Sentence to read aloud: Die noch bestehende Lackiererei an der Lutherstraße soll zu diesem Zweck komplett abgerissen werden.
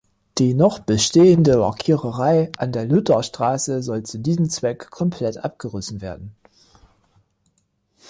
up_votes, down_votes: 2, 0